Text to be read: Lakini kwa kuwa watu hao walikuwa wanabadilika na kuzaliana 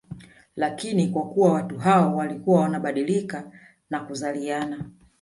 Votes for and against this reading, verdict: 3, 0, accepted